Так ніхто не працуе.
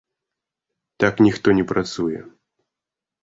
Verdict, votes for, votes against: accepted, 2, 0